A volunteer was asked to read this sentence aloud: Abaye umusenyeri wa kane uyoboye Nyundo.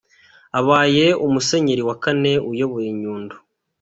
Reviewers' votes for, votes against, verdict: 2, 1, accepted